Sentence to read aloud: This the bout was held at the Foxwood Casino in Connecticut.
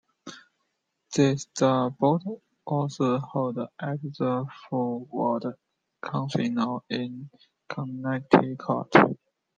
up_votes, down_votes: 0, 2